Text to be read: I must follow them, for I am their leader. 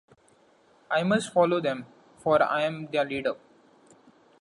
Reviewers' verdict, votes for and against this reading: accepted, 2, 0